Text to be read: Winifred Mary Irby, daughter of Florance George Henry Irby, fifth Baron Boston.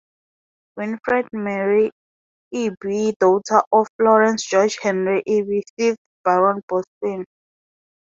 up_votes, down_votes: 2, 0